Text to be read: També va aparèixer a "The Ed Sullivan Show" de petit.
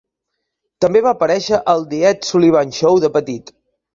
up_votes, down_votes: 0, 2